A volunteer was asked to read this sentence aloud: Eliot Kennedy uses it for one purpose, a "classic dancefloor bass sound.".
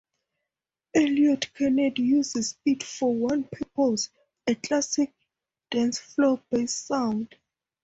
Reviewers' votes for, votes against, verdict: 2, 0, accepted